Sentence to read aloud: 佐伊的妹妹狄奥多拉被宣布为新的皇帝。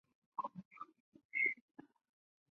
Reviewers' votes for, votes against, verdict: 0, 3, rejected